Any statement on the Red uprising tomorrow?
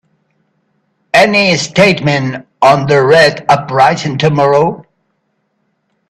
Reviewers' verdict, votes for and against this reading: rejected, 0, 2